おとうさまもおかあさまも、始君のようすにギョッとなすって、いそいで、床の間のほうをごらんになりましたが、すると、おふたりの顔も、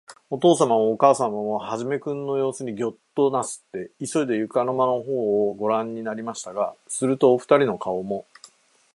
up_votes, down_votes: 2, 2